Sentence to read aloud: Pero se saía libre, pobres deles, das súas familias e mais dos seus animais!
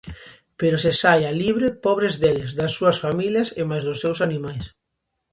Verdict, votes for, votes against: rejected, 0, 2